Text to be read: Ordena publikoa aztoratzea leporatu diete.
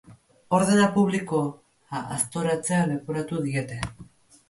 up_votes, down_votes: 0, 2